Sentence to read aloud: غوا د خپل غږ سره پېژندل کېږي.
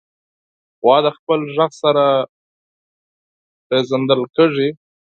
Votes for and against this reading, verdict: 0, 4, rejected